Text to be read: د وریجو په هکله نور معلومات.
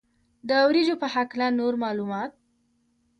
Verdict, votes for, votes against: accepted, 2, 0